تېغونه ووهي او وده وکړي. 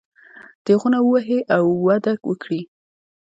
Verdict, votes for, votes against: rejected, 0, 2